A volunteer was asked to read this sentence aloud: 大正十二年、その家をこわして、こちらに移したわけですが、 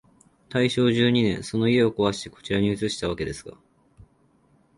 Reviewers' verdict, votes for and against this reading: accepted, 2, 0